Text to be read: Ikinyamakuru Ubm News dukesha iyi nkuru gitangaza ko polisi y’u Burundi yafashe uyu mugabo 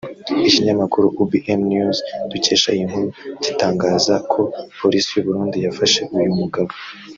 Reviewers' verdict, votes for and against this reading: rejected, 1, 2